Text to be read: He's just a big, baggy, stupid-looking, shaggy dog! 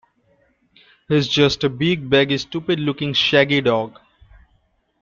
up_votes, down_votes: 2, 1